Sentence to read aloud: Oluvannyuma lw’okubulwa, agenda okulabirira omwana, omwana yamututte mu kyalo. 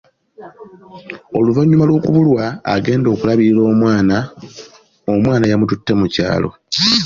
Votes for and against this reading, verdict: 2, 0, accepted